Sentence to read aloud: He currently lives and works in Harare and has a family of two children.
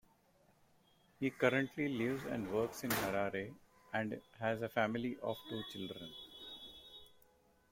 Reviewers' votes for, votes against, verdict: 1, 2, rejected